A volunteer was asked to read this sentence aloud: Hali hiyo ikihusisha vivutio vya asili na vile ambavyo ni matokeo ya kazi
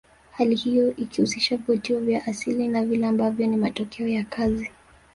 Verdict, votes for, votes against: accepted, 3, 0